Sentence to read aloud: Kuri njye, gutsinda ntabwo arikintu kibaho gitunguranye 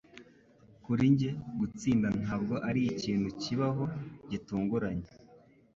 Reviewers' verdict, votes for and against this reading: accepted, 2, 0